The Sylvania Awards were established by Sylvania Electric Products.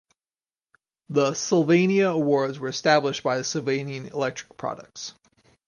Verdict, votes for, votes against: accepted, 4, 0